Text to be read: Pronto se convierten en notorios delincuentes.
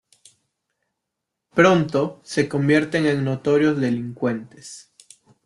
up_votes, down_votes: 2, 0